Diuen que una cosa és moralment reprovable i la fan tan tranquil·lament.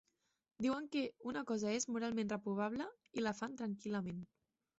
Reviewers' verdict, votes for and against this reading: rejected, 2, 3